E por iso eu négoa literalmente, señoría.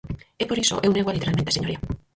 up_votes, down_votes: 0, 4